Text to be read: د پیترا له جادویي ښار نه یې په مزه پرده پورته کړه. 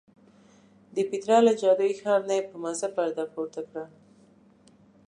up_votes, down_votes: 2, 0